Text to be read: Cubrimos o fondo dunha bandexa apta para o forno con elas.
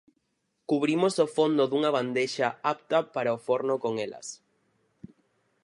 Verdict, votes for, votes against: accepted, 4, 0